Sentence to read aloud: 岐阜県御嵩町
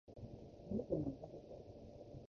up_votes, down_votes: 0, 2